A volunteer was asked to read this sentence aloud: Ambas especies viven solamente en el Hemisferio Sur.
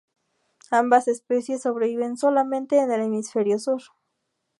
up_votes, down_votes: 0, 2